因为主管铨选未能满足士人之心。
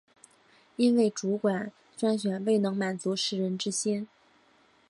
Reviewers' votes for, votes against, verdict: 1, 2, rejected